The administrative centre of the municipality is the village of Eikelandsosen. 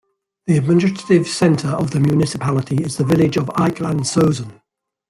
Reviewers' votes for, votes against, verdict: 2, 0, accepted